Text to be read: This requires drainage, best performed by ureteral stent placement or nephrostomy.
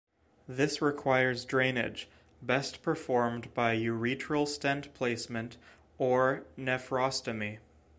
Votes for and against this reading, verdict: 2, 0, accepted